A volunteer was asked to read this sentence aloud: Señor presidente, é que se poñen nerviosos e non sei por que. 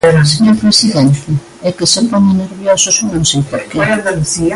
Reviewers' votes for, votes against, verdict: 0, 2, rejected